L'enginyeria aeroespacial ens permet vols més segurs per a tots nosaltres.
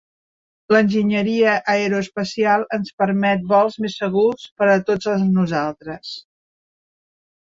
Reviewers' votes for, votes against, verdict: 1, 2, rejected